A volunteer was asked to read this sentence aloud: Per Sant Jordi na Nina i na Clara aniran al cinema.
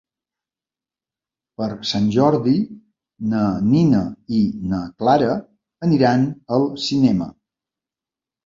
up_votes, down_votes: 3, 0